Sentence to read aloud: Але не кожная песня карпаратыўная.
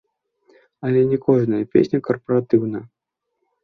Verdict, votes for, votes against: rejected, 0, 2